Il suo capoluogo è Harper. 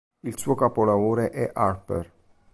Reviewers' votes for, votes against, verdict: 0, 2, rejected